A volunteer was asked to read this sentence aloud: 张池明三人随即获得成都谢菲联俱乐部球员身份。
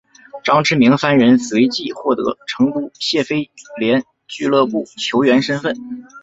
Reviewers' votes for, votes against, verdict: 2, 1, accepted